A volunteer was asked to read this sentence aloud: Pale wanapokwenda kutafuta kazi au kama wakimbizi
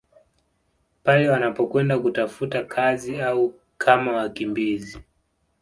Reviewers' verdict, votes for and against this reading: accepted, 2, 0